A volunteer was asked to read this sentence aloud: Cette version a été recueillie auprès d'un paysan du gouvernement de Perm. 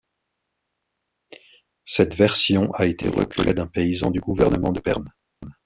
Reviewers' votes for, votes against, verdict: 1, 2, rejected